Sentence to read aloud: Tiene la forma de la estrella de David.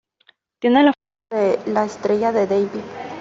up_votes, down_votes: 0, 2